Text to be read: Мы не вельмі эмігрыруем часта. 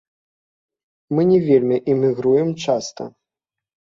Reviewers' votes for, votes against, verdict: 1, 2, rejected